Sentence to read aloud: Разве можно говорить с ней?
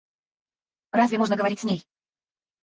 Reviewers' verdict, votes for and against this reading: rejected, 2, 2